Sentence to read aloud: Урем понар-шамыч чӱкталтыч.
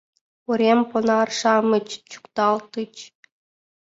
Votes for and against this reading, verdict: 0, 2, rejected